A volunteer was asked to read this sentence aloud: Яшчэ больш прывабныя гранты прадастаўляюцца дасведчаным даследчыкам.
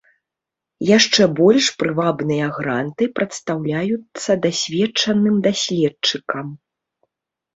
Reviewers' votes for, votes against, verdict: 0, 2, rejected